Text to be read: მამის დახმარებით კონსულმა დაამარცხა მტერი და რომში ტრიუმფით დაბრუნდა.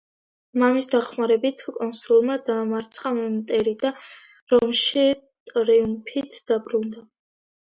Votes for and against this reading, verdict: 1, 2, rejected